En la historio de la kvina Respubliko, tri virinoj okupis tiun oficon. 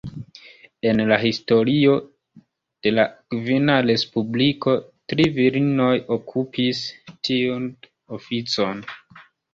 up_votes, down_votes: 2, 3